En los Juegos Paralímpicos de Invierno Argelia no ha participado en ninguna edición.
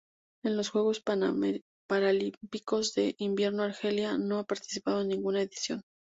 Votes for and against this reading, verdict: 0, 2, rejected